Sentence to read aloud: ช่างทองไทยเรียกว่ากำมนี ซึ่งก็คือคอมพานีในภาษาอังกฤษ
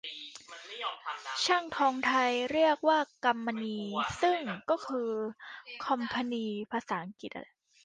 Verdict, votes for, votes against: rejected, 0, 2